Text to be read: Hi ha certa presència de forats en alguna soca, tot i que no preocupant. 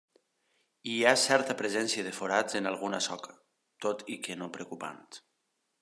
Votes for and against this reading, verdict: 2, 0, accepted